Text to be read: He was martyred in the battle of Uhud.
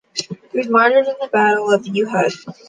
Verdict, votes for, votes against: accepted, 2, 1